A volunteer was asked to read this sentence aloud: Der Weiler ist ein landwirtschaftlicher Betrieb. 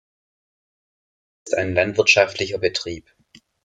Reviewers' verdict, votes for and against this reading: rejected, 0, 2